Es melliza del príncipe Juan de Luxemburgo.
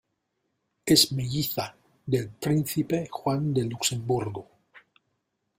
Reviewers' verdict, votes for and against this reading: accepted, 2, 1